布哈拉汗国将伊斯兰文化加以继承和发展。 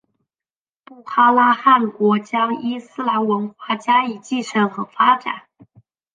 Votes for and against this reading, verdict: 2, 0, accepted